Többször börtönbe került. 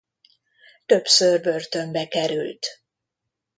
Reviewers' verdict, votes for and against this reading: accepted, 2, 0